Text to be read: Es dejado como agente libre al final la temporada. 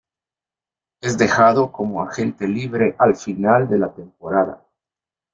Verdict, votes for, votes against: rejected, 0, 2